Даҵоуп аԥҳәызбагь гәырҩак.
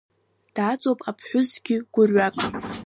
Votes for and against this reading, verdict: 0, 2, rejected